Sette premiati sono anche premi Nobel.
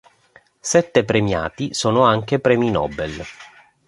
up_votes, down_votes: 2, 0